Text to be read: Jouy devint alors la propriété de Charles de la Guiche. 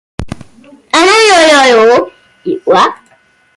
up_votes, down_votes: 0, 2